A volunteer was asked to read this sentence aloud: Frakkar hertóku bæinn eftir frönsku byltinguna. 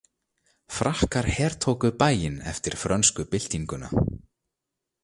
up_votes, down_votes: 2, 0